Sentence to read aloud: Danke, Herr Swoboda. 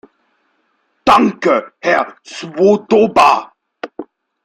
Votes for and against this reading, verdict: 0, 2, rejected